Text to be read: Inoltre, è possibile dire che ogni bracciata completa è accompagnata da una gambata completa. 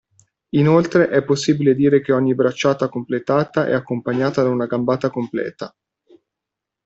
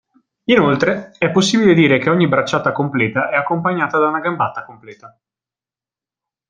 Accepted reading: second